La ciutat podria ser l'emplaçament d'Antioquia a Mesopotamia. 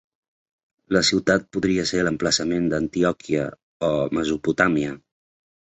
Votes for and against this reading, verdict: 2, 0, accepted